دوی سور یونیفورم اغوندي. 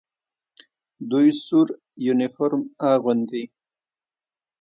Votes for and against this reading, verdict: 1, 2, rejected